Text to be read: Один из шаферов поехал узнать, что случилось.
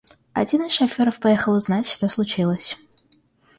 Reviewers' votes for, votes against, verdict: 2, 0, accepted